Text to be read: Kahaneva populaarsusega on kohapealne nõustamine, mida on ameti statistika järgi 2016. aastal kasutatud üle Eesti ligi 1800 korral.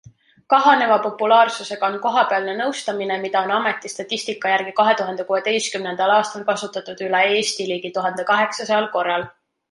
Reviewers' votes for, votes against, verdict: 0, 2, rejected